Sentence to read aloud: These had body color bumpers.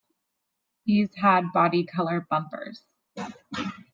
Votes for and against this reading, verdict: 2, 0, accepted